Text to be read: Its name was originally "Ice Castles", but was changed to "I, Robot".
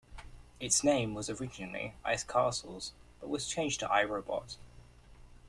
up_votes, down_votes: 2, 0